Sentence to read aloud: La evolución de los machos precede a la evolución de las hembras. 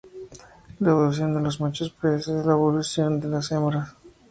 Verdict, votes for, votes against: rejected, 0, 2